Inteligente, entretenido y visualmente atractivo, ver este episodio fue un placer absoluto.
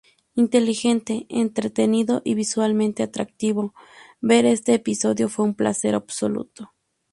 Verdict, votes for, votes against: accepted, 4, 0